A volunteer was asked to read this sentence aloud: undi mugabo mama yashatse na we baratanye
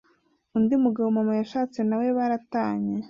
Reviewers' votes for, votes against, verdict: 1, 2, rejected